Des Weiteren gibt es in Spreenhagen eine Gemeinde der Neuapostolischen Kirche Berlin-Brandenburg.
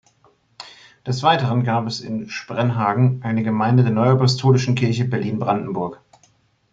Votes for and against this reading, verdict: 1, 3, rejected